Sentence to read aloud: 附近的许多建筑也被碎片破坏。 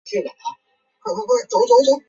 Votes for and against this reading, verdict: 1, 2, rejected